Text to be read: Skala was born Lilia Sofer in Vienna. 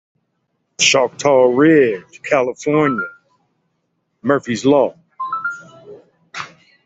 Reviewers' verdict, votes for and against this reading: rejected, 0, 2